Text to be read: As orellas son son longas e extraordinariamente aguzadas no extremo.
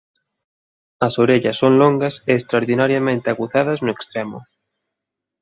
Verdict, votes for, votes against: rejected, 1, 2